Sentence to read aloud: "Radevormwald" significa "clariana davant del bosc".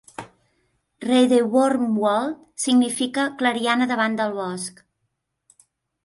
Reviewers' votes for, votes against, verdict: 2, 0, accepted